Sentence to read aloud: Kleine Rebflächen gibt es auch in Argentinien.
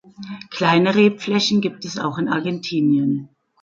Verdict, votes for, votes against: accepted, 3, 0